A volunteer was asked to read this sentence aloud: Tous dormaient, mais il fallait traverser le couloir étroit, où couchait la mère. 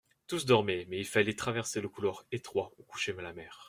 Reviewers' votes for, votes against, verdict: 1, 2, rejected